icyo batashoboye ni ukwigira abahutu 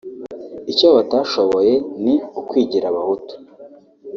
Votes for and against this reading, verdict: 1, 2, rejected